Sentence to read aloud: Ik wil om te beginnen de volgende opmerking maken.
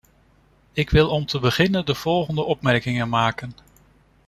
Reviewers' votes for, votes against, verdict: 0, 2, rejected